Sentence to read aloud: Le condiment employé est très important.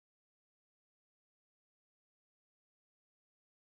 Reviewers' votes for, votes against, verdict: 0, 2, rejected